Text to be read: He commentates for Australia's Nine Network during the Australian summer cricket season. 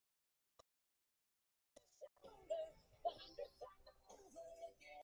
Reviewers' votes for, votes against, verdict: 0, 2, rejected